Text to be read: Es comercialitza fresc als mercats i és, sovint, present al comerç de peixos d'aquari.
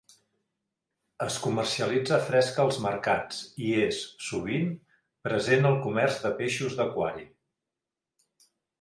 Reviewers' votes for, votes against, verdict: 2, 0, accepted